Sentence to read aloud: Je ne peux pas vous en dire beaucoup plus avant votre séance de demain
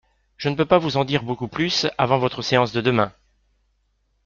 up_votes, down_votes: 2, 0